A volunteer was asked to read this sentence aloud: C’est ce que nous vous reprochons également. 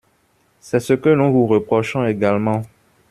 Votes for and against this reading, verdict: 2, 1, accepted